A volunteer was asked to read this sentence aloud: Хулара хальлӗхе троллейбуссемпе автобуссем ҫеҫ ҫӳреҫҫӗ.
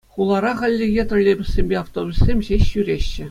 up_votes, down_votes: 2, 0